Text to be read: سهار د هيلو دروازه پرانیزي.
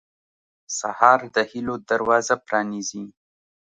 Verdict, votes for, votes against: accepted, 2, 0